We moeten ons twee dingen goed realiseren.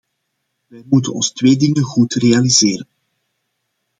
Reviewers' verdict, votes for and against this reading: accepted, 2, 0